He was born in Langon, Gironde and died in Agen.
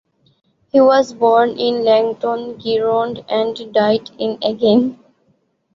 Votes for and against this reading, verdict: 2, 1, accepted